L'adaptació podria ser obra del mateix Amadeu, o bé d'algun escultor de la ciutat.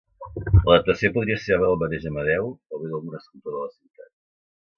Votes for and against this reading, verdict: 0, 2, rejected